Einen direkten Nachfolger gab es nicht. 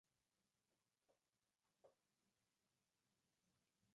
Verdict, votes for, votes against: rejected, 0, 2